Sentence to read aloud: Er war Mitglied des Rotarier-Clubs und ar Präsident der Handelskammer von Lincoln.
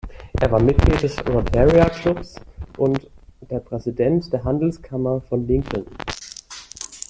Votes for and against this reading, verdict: 1, 2, rejected